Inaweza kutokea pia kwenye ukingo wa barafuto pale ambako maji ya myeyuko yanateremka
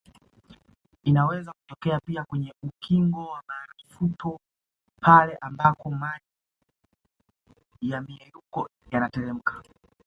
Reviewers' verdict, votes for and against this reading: accepted, 2, 0